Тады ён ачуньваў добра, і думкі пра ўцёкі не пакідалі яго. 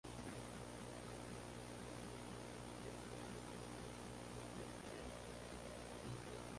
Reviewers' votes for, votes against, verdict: 0, 2, rejected